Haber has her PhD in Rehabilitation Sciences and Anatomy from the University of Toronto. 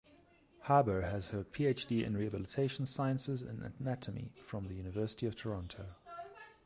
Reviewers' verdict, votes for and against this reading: accepted, 2, 0